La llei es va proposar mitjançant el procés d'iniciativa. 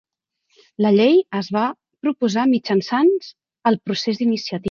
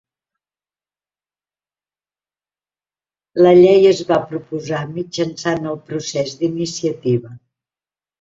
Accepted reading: second